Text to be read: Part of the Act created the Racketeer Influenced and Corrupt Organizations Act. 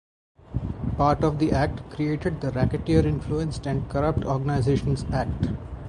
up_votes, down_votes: 4, 0